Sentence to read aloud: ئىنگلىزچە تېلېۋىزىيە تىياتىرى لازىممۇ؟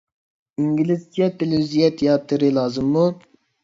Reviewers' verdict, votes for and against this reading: accepted, 2, 0